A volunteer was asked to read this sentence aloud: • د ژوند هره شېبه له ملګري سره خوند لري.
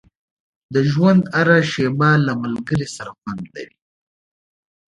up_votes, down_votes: 2, 0